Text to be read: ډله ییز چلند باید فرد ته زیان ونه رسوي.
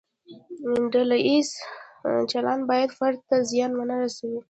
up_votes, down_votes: 2, 0